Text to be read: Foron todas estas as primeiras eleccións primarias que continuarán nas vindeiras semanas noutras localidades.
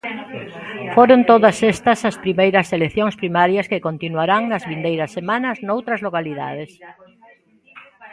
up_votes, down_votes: 1, 2